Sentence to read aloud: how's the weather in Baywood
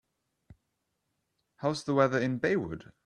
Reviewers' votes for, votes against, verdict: 2, 0, accepted